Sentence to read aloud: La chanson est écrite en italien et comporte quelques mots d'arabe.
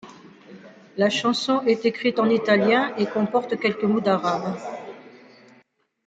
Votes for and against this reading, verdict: 2, 0, accepted